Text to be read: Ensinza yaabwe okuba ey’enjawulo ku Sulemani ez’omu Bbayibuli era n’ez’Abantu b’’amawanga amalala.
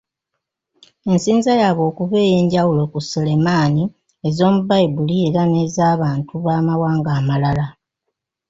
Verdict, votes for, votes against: rejected, 1, 2